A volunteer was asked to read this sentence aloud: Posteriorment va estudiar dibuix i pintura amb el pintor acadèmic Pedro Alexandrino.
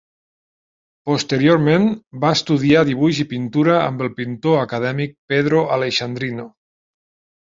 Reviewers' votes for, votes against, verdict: 0, 2, rejected